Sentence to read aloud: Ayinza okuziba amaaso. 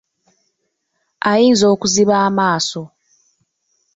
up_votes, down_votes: 2, 0